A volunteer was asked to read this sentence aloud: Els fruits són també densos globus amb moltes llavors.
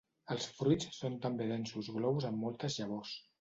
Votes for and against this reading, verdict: 2, 0, accepted